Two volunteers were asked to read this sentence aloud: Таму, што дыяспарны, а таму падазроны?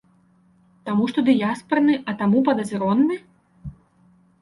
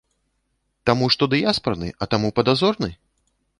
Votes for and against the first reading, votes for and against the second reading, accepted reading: 3, 0, 0, 2, first